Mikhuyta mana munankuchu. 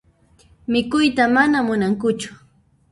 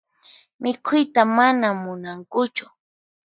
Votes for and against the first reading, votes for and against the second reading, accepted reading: 0, 2, 4, 0, second